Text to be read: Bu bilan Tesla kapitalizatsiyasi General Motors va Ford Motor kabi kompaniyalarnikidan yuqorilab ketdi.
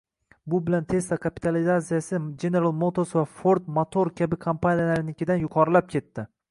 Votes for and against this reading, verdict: 1, 2, rejected